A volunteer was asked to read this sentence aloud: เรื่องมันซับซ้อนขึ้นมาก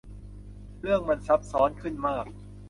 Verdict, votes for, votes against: accepted, 3, 0